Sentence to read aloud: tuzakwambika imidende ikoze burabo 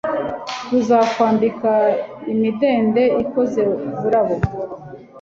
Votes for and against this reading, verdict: 2, 0, accepted